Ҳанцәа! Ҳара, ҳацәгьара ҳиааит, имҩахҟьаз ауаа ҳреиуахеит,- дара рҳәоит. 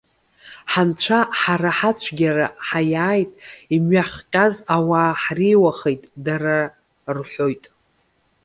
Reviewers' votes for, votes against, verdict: 1, 2, rejected